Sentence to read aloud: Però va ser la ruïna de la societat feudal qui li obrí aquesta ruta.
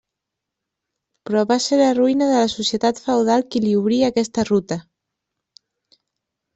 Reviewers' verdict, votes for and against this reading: accepted, 2, 1